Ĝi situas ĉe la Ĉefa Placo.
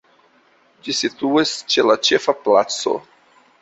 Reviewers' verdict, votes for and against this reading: accepted, 2, 0